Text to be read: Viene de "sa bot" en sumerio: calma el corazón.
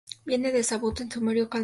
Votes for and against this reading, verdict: 0, 4, rejected